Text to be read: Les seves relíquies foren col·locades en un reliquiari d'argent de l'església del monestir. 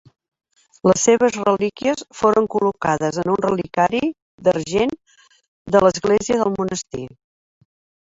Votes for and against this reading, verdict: 2, 1, accepted